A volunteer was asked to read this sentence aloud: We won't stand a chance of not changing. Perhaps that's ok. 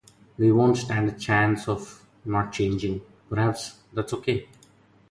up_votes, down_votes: 0, 2